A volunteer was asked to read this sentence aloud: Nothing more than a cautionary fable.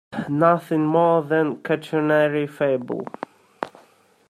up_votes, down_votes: 0, 2